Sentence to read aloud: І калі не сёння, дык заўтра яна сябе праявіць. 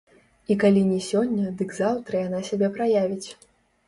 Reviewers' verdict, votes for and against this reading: rejected, 1, 2